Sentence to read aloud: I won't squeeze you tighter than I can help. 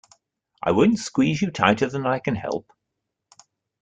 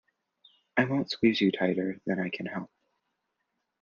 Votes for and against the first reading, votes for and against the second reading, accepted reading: 1, 2, 2, 0, second